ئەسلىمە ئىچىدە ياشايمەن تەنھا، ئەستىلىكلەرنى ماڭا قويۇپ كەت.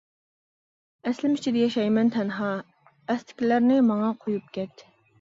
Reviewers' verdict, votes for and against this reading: accepted, 2, 1